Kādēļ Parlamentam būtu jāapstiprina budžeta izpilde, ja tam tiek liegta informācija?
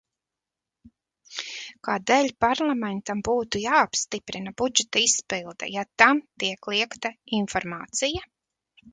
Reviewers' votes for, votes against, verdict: 2, 0, accepted